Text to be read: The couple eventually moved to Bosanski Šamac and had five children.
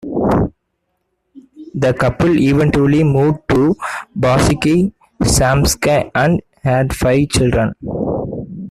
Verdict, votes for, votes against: rejected, 0, 2